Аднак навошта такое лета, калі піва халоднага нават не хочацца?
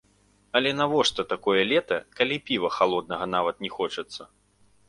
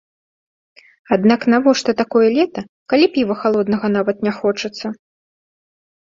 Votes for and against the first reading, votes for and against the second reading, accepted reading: 1, 2, 2, 0, second